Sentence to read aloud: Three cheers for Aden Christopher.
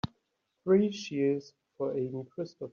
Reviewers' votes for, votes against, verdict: 3, 4, rejected